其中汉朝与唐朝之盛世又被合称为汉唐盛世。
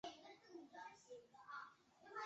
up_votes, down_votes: 0, 2